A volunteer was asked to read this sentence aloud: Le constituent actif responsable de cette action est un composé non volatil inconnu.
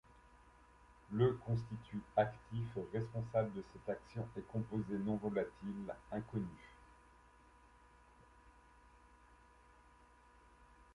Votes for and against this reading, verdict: 1, 2, rejected